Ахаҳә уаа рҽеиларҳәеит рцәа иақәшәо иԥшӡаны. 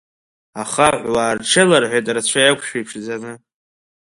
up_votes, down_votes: 0, 2